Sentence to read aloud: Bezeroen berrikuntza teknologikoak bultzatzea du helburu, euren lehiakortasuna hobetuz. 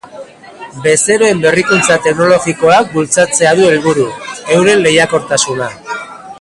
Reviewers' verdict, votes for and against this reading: rejected, 0, 2